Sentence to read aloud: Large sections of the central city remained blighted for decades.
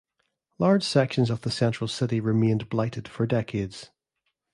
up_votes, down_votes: 2, 0